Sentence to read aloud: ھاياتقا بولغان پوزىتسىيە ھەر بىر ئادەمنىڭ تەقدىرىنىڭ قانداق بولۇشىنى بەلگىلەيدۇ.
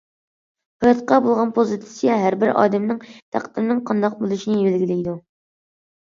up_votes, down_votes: 2, 0